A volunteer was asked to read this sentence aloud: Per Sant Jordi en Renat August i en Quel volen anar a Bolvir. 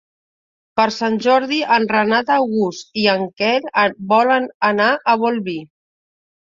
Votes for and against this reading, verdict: 2, 1, accepted